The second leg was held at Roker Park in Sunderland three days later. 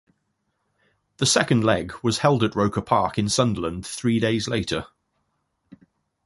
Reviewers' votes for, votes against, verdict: 2, 0, accepted